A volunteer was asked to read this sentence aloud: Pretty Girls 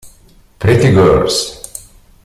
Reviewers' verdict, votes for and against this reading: rejected, 0, 2